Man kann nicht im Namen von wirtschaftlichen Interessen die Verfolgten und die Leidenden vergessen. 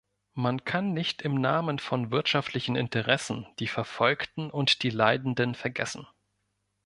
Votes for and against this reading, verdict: 2, 0, accepted